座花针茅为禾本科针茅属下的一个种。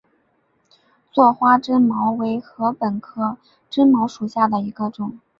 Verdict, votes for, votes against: accepted, 4, 0